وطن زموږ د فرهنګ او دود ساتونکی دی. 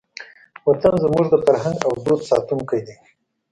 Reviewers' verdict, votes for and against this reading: accepted, 2, 0